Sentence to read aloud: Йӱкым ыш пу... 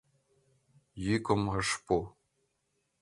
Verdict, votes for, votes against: accepted, 2, 0